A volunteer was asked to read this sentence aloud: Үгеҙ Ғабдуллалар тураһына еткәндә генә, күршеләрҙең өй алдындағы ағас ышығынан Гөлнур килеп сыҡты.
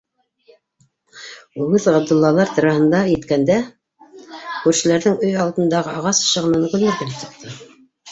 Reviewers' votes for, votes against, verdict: 1, 2, rejected